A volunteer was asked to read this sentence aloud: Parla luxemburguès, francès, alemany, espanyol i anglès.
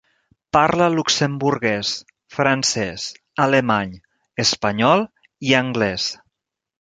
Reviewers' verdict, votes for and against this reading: rejected, 1, 2